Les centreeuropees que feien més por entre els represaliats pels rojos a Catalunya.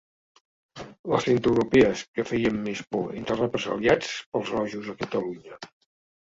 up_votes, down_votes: 2, 0